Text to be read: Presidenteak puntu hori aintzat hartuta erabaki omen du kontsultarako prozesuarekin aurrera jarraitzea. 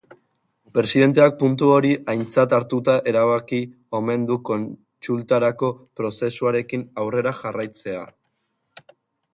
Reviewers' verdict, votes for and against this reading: accepted, 3, 0